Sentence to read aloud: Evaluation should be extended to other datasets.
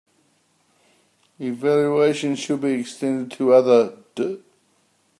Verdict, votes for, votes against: rejected, 0, 2